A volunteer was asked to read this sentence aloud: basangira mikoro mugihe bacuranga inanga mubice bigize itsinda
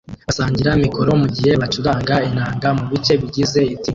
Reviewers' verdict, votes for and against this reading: rejected, 1, 2